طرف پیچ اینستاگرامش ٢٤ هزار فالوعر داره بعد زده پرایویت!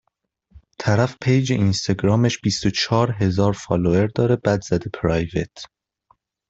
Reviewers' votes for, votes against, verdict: 0, 2, rejected